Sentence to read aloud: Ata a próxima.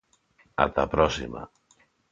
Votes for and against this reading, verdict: 2, 0, accepted